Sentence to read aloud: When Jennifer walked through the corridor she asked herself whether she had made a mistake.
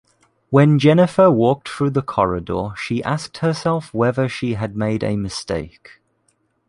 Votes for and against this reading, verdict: 2, 0, accepted